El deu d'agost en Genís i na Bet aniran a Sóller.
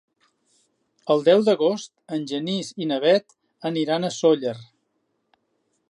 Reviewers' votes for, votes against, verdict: 2, 0, accepted